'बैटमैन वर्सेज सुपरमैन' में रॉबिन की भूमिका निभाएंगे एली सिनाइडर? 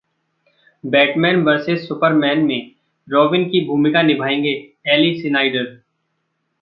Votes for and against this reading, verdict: 2, 0, accepted